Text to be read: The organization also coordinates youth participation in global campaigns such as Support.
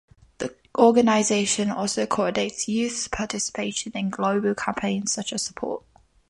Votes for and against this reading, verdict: 0, 2, rejected